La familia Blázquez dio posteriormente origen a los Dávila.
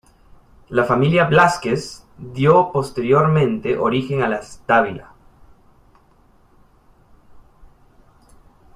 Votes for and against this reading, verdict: 0, 2, rejected